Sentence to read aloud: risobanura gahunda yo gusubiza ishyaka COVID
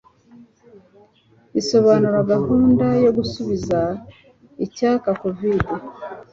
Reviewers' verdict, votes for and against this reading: rejected, 0, 2